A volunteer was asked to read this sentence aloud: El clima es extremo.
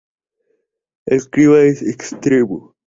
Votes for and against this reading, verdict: 0, 2, rejected